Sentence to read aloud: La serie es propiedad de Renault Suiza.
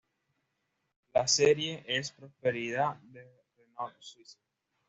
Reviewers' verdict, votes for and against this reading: rejected, 1, 2